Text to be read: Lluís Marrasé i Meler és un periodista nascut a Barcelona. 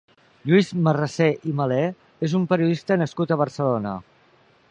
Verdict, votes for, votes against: accepted, 2, 0